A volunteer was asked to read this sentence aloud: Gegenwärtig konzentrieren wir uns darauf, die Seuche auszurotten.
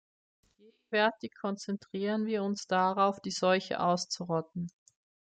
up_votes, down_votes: 1, 2